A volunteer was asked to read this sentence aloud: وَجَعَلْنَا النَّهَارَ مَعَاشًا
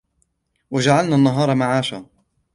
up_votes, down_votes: 2, 0